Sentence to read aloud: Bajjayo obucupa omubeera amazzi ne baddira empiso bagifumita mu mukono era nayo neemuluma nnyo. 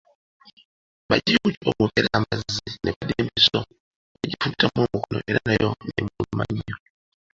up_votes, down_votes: 0, 2